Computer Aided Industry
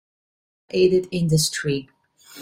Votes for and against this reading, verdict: 0, 2, rejected